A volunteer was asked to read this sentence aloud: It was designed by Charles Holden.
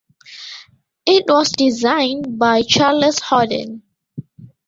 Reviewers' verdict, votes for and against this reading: rejected, 1, 2